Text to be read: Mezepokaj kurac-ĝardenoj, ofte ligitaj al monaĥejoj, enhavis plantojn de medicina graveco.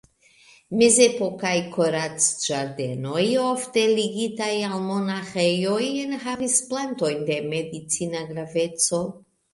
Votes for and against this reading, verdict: 2, 0, accepted